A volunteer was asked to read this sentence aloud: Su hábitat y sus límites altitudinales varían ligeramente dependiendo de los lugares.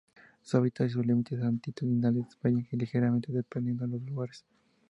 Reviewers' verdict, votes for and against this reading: accepted, 2, 0